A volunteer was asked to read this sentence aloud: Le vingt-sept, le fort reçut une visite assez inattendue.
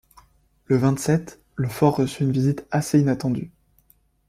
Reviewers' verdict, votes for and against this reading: accepted, 2, 0